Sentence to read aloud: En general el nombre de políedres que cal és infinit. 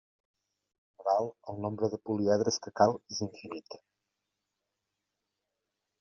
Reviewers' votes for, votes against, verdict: 1, 2, rejected